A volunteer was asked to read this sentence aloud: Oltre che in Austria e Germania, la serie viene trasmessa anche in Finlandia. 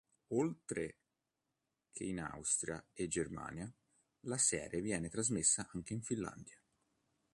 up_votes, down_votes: 2, 0